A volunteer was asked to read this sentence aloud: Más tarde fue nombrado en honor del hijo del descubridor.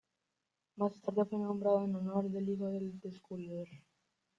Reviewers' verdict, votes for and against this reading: rejected, 0, 2